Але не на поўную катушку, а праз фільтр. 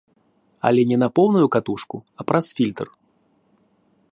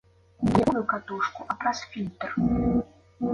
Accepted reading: first